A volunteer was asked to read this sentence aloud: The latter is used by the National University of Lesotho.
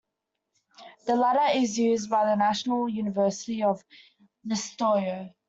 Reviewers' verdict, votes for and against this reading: rejected, 0, 2